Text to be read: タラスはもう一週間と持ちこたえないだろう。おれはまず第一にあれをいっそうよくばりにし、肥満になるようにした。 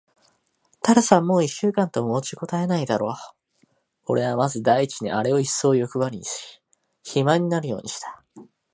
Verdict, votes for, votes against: accepted, 2, 0